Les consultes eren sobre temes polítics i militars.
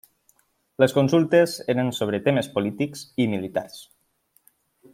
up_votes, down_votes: 3, 0